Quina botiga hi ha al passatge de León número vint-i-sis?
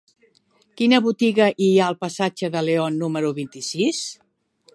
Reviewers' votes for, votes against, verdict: 0, 2, rejected